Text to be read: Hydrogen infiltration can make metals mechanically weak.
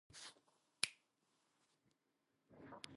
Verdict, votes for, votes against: rejected, 0, 2